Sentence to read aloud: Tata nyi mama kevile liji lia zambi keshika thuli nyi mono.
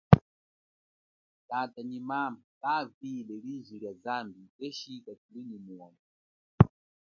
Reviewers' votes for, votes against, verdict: 1, 2, rejected